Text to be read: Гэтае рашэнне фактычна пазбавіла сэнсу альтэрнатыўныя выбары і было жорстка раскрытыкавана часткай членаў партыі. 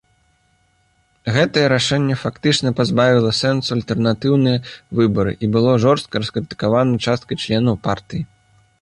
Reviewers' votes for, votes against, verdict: 2, 0, accepted